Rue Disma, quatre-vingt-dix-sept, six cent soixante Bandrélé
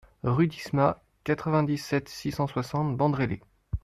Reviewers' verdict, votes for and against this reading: accepted, 2, 0